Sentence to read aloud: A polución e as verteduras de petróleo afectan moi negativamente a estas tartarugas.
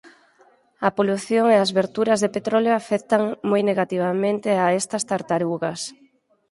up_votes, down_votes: 0, 4